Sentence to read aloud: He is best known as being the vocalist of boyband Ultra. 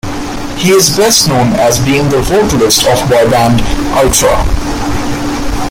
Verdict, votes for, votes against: rejected, 1, 2